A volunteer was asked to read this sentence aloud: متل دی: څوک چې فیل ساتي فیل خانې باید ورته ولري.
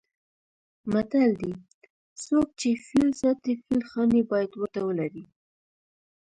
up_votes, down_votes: 0, 2